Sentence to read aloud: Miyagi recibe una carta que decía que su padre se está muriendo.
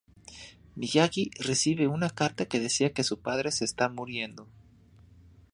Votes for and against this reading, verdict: 2, 0, accepted